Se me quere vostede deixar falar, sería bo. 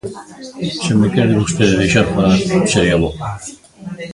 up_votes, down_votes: 0, 2